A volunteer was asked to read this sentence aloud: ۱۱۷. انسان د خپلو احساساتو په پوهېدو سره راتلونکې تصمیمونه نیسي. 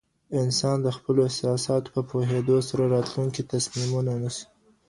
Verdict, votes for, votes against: rejected, 0, 2